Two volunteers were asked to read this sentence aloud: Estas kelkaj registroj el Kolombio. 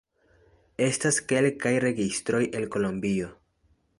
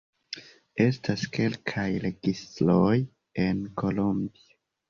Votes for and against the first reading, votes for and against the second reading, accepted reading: 2, 0, 0, 2, first